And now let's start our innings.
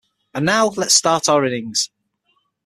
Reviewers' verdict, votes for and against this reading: accepted, 6, 0